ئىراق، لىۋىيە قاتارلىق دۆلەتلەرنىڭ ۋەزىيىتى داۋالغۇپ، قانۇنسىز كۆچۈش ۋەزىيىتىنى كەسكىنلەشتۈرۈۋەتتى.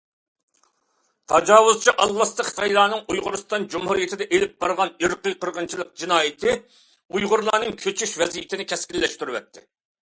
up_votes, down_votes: 0, 2